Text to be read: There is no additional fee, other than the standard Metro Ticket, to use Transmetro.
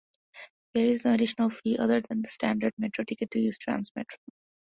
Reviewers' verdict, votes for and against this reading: accepted, 2, 0